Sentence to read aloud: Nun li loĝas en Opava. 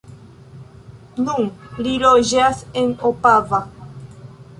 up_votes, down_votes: 2, 1